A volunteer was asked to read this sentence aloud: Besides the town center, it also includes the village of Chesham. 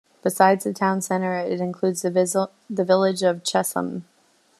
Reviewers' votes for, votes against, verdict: 0, 2, rejected